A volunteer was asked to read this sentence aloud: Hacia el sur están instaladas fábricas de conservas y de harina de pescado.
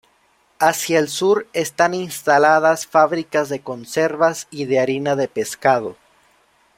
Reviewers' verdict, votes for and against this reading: accepted, 2, 0